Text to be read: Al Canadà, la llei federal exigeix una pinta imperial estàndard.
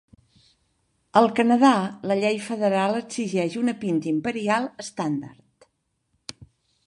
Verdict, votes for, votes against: rejected, 1, 2